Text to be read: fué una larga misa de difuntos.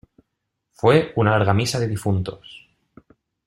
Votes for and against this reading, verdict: 1, 2, rejected